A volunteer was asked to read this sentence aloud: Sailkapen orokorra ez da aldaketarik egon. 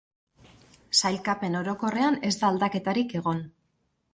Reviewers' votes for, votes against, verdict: 0, 2, rejected